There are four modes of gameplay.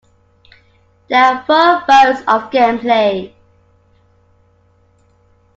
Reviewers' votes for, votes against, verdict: 2, 1, accepted